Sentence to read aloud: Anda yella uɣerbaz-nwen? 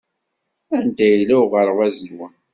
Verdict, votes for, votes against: accepted, 2, 0